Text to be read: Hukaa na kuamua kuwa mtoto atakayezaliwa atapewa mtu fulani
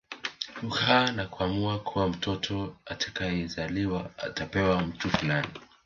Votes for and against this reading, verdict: 1, 2, rejected